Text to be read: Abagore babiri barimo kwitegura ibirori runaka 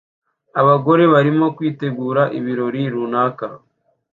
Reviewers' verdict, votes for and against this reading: rejected, 0, 2